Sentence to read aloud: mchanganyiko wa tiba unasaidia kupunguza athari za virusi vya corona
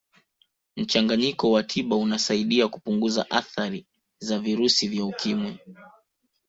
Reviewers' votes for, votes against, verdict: 1, 2, rejected